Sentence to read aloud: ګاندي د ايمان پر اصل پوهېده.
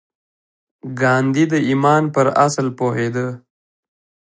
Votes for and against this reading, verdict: 2, 1, accepted